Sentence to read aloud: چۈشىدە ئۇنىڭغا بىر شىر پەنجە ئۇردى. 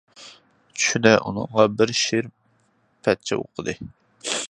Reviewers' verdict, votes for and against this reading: rejected, 0, 2